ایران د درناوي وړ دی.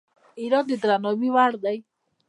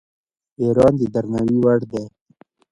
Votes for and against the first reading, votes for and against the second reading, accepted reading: 1, 2, 2, 1, second